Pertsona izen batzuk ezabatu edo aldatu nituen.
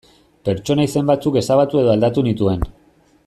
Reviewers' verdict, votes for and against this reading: accepted, 2, 0